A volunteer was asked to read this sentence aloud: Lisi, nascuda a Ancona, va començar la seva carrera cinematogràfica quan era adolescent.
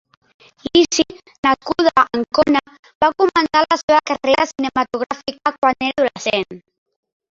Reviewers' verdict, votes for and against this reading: rejected, 0, 2